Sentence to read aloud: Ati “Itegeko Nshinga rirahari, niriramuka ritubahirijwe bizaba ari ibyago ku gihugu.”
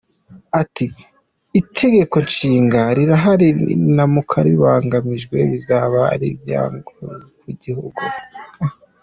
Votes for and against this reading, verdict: 0, 2, rejected